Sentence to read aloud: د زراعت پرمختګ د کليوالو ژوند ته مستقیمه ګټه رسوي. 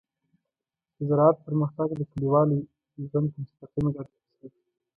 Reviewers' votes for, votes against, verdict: 0, 2, rejected